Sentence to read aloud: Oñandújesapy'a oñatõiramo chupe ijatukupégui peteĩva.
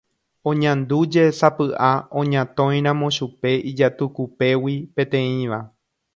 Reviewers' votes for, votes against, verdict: 2, 0, accepted